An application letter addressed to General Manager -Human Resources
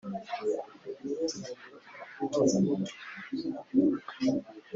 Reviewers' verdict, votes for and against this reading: rejected, 2, 3